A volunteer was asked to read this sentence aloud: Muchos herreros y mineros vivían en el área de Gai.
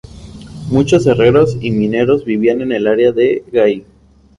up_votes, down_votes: 2, 2